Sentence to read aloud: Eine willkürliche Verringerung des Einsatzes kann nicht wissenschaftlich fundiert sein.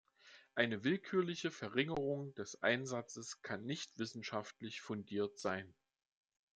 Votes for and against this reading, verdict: 3, 0, accepted